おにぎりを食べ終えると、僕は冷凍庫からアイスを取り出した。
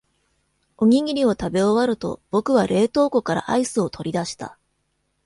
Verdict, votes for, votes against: rejected, 1, 2